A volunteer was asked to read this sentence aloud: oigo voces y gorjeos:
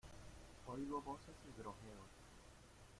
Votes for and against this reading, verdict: 0, 2, rejected